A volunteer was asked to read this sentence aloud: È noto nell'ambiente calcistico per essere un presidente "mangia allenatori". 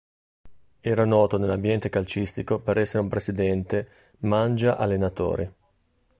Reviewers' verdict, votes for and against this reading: rejected, 1, 2